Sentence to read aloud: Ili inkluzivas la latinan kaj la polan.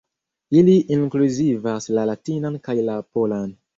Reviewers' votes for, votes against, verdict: 2, 1, accepted